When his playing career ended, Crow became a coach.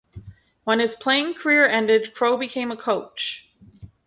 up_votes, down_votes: 6, 0